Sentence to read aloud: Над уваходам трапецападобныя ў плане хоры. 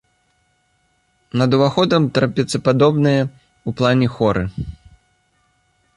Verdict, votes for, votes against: accepted, 2, 0